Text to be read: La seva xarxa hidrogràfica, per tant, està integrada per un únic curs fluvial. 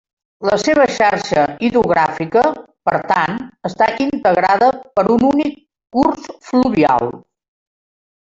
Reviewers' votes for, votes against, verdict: 1, 2, rejected